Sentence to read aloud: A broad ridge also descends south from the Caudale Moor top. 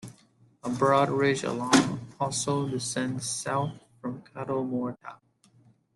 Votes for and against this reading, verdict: 1, 2, rejected